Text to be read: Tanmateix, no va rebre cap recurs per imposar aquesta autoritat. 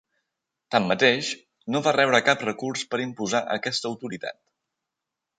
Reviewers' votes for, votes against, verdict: 3, 0, accepted